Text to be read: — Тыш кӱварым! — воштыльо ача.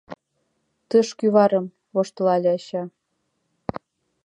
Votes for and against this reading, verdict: 0, 2, rejected